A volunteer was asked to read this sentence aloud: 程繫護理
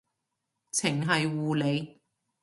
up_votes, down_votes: 3, 0